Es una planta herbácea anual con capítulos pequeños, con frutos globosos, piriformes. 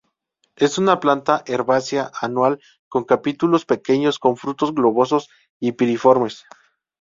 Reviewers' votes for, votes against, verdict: 0, 2, rejected